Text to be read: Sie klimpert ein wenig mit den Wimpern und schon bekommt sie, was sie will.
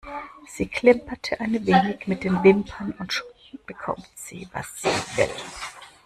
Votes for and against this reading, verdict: 1, 2, rejected